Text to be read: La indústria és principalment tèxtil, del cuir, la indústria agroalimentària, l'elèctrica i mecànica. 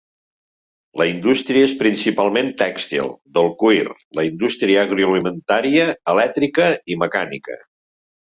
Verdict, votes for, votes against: rejected, 1, 2